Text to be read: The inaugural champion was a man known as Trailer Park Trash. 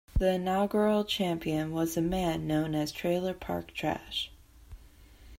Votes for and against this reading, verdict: 2, 0, accepted